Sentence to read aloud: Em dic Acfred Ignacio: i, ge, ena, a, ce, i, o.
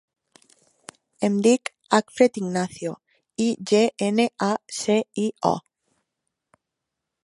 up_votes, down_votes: 0, 2